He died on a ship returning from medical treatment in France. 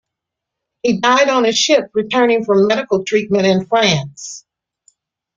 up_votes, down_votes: 2, 0